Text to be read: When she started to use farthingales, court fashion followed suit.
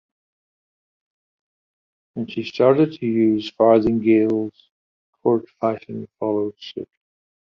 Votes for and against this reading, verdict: 2, 0, accepted